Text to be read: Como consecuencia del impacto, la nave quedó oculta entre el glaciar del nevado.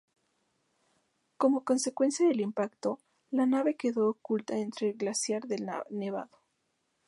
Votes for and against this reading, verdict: 2, 2, rejected